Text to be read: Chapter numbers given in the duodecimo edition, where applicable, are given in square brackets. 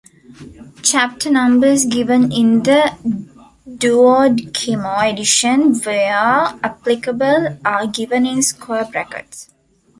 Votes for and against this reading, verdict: 1, 3, rejected